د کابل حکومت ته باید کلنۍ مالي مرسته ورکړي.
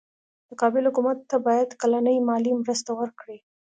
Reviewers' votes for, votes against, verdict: 2, 0, accepted